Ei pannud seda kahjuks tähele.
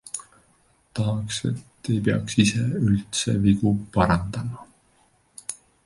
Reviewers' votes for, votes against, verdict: 0, 2, rejected